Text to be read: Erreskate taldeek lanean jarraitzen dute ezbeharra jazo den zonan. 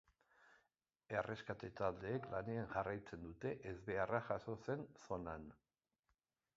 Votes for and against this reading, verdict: 0, 2, rejected